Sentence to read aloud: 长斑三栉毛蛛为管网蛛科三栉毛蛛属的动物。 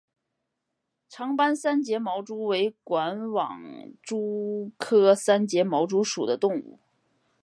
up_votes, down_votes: 3, 0